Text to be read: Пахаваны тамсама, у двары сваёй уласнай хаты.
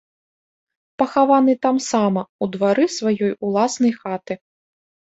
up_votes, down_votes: 2, 0